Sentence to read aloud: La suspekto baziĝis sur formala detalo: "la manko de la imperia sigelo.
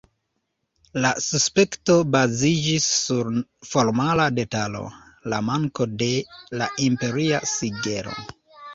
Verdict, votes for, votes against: rejected, 0, 2